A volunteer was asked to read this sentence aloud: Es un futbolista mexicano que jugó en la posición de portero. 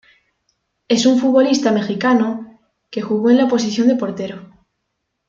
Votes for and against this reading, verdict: 2, 1, accepted